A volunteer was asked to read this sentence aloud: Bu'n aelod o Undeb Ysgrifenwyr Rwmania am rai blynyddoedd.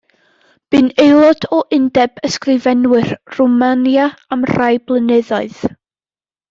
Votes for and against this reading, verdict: 2, 0, accepted